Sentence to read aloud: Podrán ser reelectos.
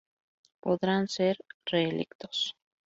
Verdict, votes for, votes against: rejected, 2, 2